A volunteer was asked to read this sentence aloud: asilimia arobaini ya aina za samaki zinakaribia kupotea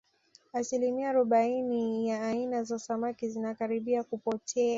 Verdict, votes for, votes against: accepted, 2, 1